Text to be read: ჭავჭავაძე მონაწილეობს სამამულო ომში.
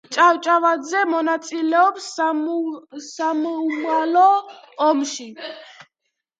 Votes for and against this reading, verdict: 0, 2, rejected